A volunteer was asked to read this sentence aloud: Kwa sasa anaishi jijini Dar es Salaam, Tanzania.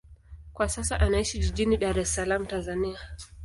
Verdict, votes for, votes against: accepted, 2, 0